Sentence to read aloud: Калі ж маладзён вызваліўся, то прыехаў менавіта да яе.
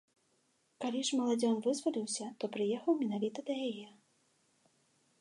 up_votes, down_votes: 2, 0